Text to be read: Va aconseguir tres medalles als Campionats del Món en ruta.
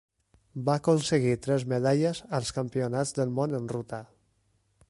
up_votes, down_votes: 3, 0